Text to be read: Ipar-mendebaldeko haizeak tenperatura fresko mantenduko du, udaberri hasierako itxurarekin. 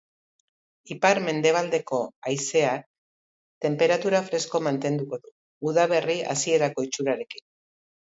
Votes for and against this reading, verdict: 1, 2, rejected